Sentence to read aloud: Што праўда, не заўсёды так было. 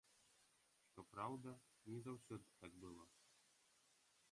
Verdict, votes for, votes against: rejected, 0, 2